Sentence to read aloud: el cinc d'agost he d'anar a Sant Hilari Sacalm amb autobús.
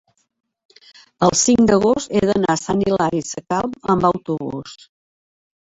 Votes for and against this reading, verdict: 3, 1, accepted